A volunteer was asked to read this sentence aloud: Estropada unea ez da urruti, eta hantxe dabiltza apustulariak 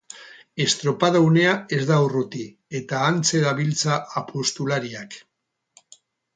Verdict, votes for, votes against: accepted, 4, 0